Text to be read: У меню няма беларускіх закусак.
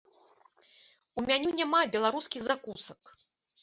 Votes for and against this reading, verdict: 1, 2, rejected